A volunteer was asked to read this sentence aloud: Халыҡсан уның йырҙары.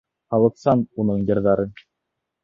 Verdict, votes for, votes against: accepted, 2, 0